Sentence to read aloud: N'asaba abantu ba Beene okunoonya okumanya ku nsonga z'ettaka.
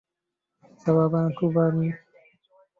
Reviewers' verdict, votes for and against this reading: rejected, 0, 2